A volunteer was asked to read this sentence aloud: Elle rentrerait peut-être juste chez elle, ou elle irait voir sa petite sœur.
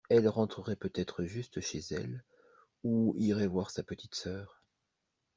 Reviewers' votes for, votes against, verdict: 1, 2, rejected